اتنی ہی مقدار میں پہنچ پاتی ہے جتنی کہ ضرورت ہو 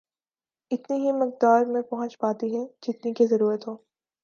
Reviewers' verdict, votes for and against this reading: accepted, 3, 0